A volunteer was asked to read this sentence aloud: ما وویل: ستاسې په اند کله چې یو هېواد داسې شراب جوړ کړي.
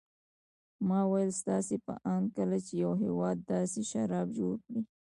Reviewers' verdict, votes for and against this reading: rejected, 1, 2